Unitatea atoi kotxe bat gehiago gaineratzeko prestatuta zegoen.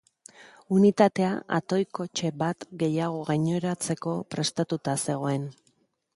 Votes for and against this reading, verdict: 2, 0, accepted